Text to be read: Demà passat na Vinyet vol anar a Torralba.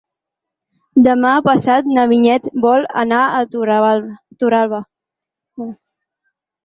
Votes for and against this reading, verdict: 0, 4, rejected